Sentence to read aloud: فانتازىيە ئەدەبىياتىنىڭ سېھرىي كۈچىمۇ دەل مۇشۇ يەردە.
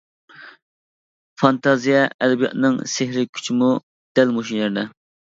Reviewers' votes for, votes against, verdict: 2, 1, accepted